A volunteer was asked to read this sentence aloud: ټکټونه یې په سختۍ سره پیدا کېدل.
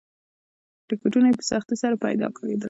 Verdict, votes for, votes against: rejected, 1, 2